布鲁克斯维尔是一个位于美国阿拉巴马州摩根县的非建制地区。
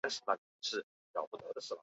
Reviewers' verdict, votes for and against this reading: accepted, 2, 0